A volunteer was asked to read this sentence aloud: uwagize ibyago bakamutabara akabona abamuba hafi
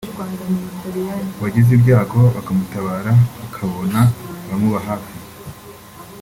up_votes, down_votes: 2, 1